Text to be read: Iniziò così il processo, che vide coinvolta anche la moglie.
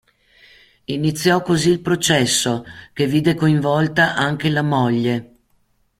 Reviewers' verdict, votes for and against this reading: accepted, 2, 0